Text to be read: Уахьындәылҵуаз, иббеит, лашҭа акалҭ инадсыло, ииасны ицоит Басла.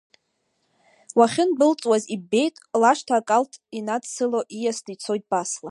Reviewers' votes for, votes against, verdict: 2, 0, accepted